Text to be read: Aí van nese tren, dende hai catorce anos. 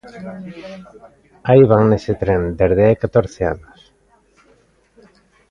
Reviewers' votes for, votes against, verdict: 2, 1, accepted